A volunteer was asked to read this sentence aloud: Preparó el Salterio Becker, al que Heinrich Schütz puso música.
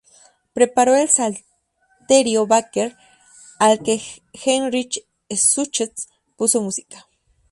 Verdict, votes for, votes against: rejected, 0, 2